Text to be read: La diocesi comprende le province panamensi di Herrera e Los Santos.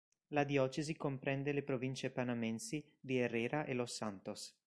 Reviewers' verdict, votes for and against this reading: rejected, 0, 2